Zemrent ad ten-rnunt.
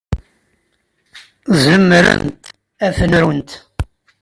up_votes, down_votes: 0, 2